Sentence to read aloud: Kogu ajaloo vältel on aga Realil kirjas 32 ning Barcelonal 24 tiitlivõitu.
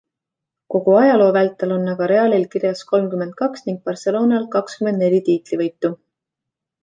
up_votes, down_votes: 0, 2